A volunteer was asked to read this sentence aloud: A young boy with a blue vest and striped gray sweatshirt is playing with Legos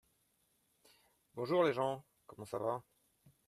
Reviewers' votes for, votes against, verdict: 0, 2, rejected